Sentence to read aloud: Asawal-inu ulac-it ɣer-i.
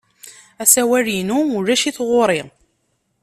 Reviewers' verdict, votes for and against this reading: accepted, 2, 0